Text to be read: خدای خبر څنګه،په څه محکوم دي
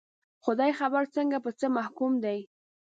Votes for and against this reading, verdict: 1, 2, rejected